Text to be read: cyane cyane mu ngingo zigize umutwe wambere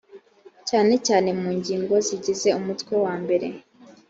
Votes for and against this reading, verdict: 2, 1, accepted